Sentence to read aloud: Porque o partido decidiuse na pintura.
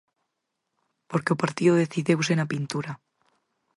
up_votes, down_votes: 4, 0